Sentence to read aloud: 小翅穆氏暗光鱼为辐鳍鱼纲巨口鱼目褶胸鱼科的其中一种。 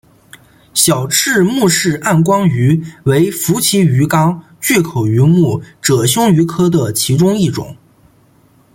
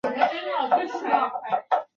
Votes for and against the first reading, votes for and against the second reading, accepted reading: 2, 1, 0, 2, first